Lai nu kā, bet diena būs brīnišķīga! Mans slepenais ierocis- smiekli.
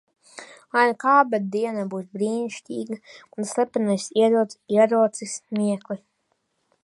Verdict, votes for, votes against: rejected, 0, 2